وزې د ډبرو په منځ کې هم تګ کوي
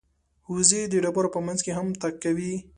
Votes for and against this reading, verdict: 2, 0, accepted